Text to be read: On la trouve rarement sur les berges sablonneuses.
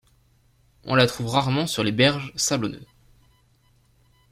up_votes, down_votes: 2, 0